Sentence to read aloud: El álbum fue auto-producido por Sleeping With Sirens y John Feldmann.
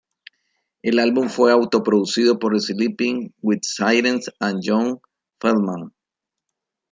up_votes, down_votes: 0, 2